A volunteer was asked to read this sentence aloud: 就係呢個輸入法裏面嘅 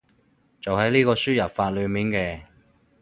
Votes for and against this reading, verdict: 0, 4, rejected